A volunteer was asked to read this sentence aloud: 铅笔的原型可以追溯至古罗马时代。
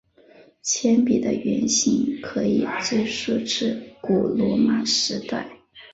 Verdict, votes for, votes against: accepted, 3, 0